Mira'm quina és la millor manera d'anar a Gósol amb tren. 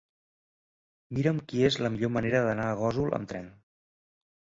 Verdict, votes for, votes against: rejected, 0, 2